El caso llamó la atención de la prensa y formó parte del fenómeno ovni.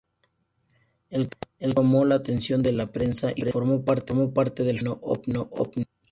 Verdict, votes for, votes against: rejected, 0, 2